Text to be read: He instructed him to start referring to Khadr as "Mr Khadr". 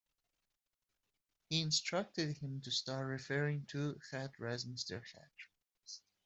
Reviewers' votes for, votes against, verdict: 0, 2, rejected